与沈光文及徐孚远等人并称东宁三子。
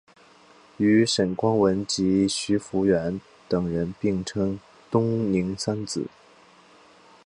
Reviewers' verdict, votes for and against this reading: accepted, 2, 0